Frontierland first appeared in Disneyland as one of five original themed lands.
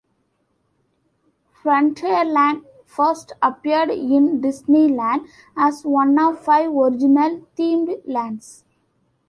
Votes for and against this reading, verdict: 2, 1, accepted